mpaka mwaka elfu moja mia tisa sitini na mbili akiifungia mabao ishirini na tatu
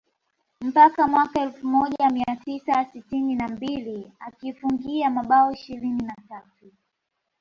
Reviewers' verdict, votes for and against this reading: accepted, 2, 1